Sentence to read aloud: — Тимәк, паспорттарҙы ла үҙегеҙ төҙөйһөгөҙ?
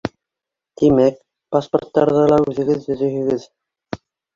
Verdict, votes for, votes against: rejected, 1, 2